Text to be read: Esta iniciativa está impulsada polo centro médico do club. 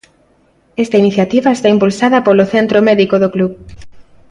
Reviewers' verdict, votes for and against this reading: accepted, 2, 0